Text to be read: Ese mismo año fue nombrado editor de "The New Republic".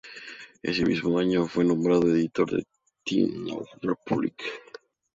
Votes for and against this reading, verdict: 0, 4, rejected